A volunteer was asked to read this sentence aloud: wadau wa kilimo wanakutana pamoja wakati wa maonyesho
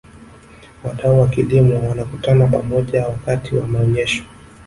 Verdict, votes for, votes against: rejected, 0, 2